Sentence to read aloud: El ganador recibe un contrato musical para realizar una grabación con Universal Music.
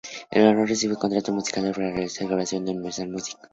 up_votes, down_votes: 2, 0